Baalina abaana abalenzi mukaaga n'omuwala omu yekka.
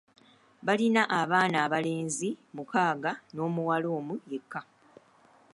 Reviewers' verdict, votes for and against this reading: rejected, 1, 2